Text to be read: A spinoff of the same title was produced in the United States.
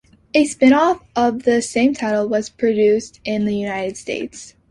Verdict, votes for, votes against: accepted, 2, 0